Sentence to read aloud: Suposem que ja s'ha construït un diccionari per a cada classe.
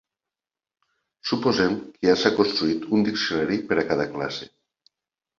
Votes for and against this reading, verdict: 1, 2, rejected